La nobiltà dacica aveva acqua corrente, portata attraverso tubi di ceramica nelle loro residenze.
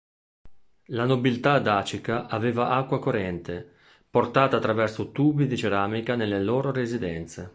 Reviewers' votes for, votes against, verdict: 2, 0, accepted